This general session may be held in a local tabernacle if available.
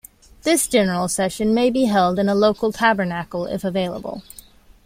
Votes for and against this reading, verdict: 2, 0, accepted